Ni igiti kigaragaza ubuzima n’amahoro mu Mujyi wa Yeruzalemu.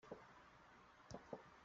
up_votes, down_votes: 0, 2